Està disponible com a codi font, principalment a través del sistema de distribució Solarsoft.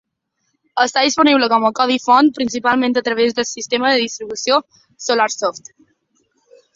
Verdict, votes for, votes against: accepted, 3, 0